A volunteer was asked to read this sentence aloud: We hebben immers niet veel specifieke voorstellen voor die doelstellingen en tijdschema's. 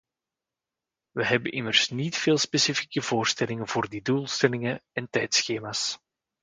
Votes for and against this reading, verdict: 1, 2, rejected